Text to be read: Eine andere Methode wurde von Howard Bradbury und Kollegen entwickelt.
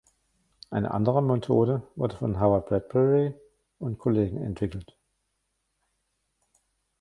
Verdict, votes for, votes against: rejected, 1, 2